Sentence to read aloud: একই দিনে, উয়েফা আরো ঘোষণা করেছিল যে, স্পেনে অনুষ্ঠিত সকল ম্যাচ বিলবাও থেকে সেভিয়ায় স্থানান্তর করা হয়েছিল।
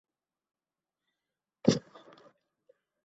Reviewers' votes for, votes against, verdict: 1, 6, rejected